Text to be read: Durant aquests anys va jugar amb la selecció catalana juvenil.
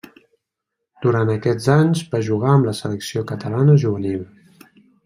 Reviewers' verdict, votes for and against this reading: accepted, 3, 0